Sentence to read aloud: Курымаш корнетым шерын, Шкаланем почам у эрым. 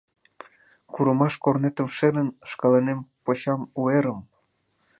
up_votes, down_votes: 2, 0